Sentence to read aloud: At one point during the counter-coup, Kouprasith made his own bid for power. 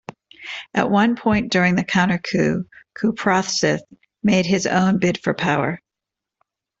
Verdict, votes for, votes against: accepted, 2, 0